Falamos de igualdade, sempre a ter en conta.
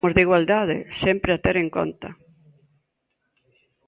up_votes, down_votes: 0, 2